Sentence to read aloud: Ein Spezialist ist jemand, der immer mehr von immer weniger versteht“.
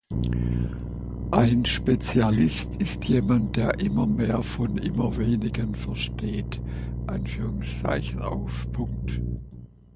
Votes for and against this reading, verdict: 0, 3, rejected